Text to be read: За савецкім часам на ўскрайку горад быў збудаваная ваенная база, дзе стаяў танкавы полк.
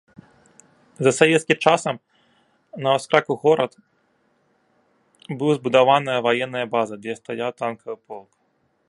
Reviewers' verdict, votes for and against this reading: rejected, 1, 2